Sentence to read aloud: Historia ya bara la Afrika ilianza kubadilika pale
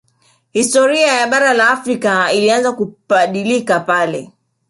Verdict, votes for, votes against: rejected, 3, 4